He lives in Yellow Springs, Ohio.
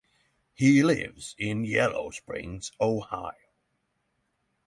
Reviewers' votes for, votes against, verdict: 6, 0, accepted